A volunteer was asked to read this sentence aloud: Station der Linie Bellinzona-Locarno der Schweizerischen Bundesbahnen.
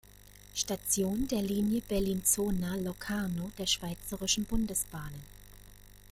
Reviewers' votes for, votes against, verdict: 2, 0, accepted